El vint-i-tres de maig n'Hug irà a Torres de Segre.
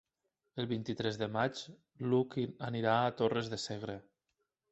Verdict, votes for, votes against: rejected, 1, 2